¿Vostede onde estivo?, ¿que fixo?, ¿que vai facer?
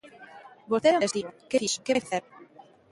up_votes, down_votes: 0, 2